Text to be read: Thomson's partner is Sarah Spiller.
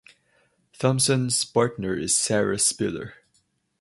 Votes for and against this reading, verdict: 4, 0, accepted